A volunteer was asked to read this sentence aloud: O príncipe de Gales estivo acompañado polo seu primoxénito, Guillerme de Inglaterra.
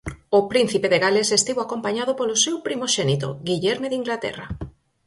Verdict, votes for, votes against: accepted, 4, 0